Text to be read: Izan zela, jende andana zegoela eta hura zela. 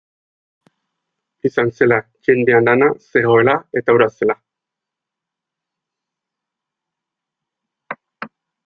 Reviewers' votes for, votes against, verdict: 0, 2, rejected